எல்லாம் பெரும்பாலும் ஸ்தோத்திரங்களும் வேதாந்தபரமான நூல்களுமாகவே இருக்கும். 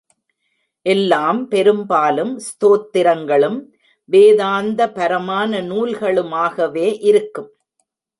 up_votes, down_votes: 2, 0